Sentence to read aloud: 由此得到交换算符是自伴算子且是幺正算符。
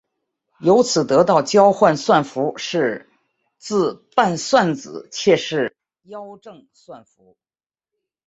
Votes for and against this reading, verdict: 2, 1, accepted